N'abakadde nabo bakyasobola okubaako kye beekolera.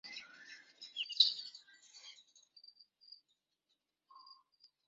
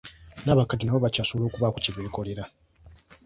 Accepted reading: second